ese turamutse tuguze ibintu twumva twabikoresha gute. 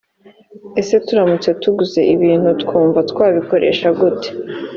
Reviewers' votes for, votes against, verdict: 3, 0, accepted